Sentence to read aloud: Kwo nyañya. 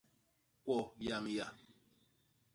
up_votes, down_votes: 0, 2